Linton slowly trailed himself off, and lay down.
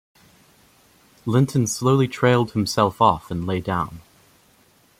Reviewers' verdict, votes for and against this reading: accepted, 2, 0